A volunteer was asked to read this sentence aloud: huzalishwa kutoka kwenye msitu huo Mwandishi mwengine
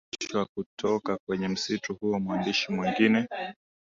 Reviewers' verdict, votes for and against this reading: rejected, 0, 2